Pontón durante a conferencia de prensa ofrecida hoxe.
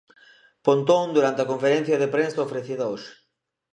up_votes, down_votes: 2, 0